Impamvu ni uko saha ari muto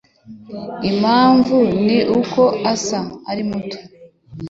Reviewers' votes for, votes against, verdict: 2, 1, accepted